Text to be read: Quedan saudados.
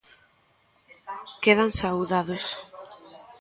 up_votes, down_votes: 1, 2